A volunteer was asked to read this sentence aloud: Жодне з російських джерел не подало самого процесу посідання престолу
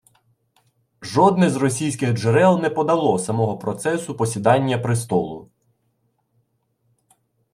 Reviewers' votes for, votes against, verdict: 2, 0, accepted